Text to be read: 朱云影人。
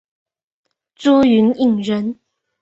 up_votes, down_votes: 4, 0